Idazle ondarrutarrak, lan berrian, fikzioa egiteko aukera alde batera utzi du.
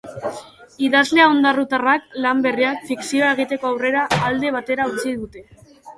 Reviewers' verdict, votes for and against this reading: rejected, 0, 2